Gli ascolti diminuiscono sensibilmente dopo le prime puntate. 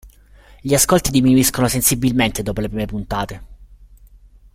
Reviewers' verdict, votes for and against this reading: accepted, 2, 0